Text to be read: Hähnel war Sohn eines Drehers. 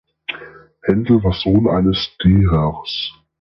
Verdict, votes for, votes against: rejected, 0, 2